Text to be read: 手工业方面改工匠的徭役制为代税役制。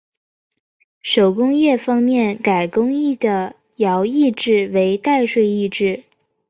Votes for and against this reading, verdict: 1, 2, rejected